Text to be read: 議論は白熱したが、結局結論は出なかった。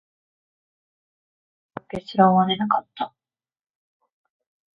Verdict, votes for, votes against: rejected, 1, 2